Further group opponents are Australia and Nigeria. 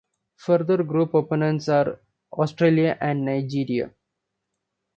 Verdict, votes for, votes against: accepted, 2, 0